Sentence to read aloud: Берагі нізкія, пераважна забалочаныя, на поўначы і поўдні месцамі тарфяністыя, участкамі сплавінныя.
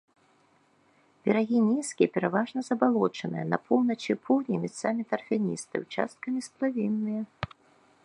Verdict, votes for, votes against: rejected, 2, 3